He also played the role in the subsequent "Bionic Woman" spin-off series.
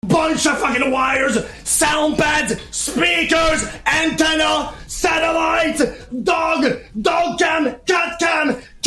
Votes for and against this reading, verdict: 0, 2, rejected